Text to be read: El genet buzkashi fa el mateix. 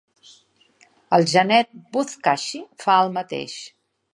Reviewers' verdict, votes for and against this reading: accepted, 3, 0